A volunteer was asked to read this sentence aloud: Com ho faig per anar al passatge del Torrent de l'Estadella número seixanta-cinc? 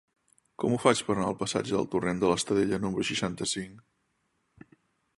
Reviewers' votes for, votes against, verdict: 3, 0, accepted